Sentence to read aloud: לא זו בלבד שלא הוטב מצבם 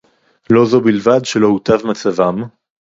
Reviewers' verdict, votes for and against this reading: rejected, 2, 2